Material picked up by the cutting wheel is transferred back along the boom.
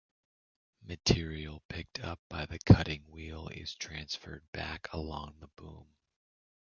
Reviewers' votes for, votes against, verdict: 2, 0, accepted